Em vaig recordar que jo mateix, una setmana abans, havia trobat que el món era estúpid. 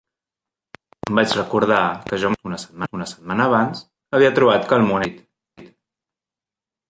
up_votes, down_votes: 0, 2